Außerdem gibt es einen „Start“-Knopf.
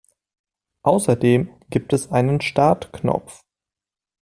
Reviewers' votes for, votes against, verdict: 2, 0, accepted